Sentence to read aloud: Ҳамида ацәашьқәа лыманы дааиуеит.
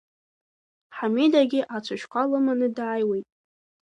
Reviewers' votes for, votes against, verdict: 2, 0, accepted